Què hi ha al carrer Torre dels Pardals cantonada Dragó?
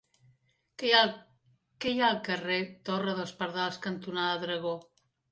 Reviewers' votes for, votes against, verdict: 0, 2, rejected